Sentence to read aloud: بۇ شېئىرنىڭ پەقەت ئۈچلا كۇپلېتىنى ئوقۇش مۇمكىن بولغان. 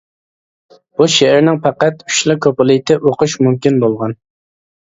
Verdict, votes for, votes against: rejected, 0, 2